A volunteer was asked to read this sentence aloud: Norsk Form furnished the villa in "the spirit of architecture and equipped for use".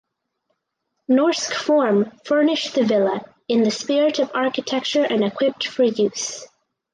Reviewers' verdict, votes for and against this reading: accepted, 4, 0